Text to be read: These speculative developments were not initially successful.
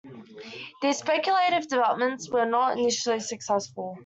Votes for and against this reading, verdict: 2, 0, accepted